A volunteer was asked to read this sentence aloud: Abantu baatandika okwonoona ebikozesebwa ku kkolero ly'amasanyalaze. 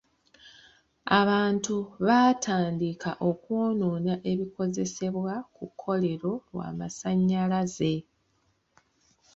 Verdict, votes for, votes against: rejected, 0, 2